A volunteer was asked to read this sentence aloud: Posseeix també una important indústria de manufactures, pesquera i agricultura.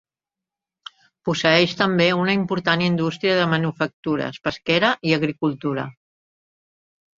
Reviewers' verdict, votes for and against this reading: accepted, 3, 0